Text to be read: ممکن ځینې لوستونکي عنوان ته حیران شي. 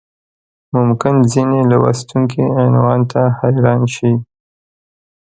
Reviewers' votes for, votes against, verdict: 2, 1, accepted